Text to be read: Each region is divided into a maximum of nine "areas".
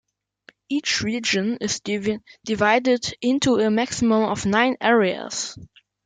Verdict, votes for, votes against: rejected, 1, 2